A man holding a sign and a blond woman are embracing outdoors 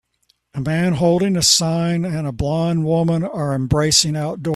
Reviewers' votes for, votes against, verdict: 2, 0, accepted